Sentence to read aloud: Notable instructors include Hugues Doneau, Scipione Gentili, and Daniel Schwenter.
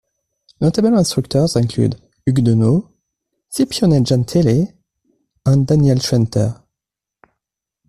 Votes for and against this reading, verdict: 2, 1, accepted